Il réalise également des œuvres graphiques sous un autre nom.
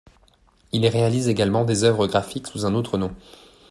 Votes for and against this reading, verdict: 2, 0, accepted